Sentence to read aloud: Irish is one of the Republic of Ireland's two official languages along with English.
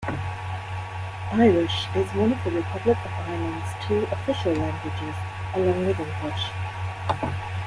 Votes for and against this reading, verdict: 2, 1, accepted